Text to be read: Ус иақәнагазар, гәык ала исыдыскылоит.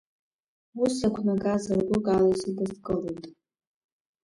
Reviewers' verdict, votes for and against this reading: accepted, 2, 1